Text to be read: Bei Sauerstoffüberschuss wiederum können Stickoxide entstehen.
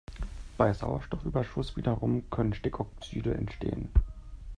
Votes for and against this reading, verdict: 2, 0, accepted